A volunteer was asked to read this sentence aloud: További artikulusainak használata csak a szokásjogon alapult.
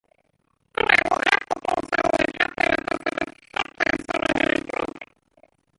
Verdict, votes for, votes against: rejected, 0, 2